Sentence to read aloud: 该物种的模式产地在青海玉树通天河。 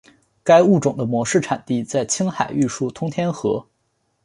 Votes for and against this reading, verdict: 7, 0, accepted